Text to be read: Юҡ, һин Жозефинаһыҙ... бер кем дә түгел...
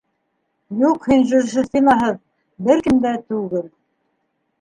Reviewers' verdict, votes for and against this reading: rejected, 2, 3